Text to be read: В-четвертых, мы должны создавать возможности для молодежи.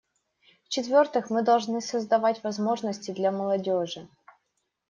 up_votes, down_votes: 2, 0